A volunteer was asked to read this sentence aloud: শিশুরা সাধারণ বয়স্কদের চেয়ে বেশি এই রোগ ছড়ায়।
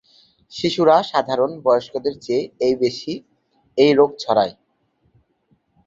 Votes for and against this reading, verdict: 0, 2, rejected